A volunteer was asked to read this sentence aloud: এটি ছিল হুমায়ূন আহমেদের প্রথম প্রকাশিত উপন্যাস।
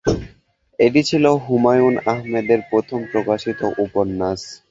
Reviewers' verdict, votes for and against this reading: rejected, 0, 2